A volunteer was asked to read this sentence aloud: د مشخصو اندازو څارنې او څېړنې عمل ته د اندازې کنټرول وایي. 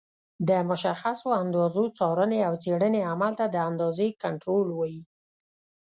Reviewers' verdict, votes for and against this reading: accepted, 2, 0